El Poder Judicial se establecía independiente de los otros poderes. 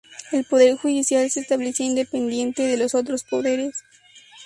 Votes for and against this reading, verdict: 2, 0, accepted